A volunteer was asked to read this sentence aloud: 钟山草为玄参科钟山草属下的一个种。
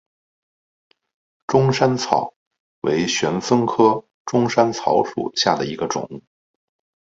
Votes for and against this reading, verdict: 7, 0, accepted